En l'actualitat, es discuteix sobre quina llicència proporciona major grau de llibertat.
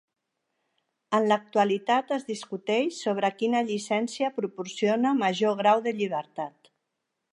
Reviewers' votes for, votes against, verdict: 3, 0, accepted